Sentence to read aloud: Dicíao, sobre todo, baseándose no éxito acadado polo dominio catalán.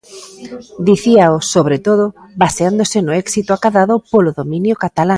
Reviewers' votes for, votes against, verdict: 0, 2, rejected